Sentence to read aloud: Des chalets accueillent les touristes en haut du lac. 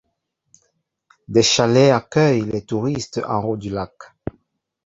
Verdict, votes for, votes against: accepted, 2, 0